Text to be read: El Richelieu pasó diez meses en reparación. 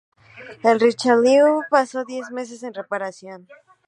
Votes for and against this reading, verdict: 2, 0, accepted